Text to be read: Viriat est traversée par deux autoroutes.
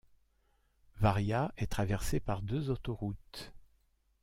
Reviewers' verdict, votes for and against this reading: rejected, 1, 2